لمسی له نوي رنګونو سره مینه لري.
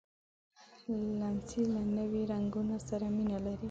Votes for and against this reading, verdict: 1, 2, rejected